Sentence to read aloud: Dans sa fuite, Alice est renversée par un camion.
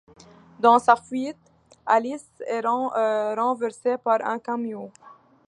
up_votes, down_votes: 0, 2